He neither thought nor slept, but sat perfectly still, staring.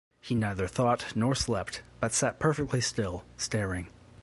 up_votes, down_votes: 2, 0